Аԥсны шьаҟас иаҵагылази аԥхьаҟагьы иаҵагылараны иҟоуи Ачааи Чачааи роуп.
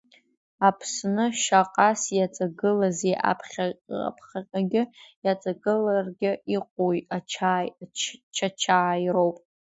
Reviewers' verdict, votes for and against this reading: rejected, 0, 2